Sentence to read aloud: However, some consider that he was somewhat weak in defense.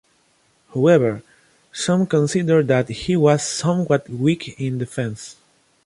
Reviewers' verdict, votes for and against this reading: accepted, 2, 0